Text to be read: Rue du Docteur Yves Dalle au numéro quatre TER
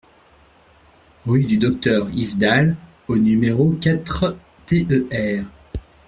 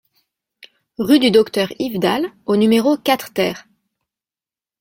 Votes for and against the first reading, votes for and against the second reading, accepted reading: 1, 2, 2, 0, second